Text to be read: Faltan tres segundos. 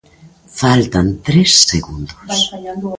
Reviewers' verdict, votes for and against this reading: accepted, 2, 1